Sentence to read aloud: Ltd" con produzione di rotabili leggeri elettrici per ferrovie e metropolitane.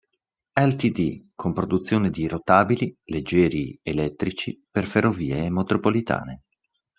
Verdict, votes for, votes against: rejected, 1, 2